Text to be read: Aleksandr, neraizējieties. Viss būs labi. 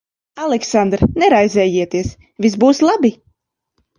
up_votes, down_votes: 2, 0